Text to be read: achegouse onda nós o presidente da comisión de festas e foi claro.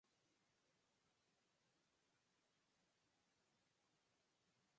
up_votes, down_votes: 2, 4